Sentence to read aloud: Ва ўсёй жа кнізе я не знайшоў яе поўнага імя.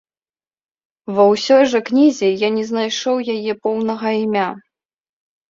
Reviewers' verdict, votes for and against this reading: accepted, 2, 0